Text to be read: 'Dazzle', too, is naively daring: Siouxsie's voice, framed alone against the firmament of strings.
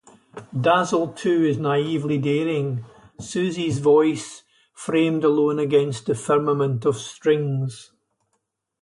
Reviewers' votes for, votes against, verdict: 0, 2, rejected